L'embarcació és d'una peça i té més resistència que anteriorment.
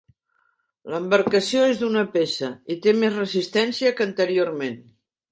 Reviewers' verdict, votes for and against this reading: accepted, 3, 0